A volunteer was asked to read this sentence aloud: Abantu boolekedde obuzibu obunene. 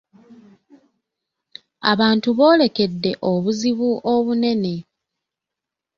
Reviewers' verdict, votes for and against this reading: accepted, 2, 0